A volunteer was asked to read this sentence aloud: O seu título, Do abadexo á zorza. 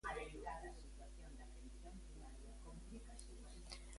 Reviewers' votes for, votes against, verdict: 0, 2, rejected